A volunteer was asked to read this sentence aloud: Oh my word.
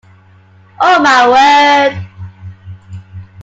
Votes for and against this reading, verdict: 2, 0, accepted